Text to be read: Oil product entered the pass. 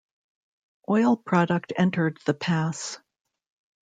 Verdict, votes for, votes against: accepted, 2, 0